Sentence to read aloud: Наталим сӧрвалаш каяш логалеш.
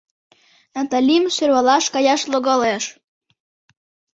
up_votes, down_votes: 2, 0